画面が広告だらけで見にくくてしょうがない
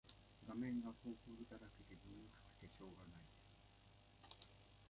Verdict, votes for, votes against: rejected, 0, 2